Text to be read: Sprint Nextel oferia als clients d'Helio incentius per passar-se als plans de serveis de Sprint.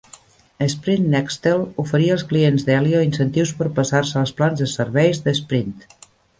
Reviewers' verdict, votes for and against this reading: accepted, 2, 0